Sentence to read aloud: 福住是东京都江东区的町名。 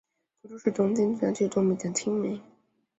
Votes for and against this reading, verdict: 2, 4, rejected